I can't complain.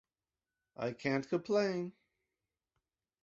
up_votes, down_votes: 2, 0